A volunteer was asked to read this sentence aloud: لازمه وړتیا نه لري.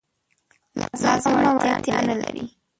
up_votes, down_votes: 1, 2